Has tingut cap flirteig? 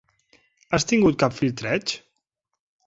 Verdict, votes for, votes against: accepted, 2, 1